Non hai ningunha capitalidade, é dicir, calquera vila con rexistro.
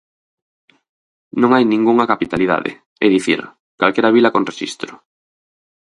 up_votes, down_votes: 4, 0